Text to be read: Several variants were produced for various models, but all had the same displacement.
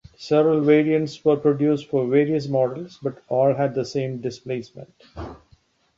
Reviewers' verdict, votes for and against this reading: accepted, 2, 1